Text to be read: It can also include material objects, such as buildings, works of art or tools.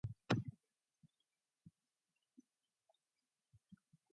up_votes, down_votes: 0, 2